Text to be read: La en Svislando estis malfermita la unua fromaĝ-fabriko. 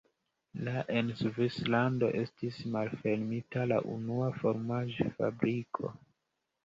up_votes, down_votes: 0, 2